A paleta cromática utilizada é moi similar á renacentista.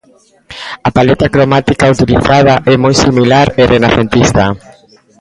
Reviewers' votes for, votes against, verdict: 0, 2, rejected